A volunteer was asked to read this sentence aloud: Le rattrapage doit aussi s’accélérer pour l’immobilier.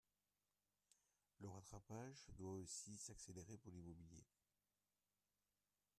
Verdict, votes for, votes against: rejected, 1, 2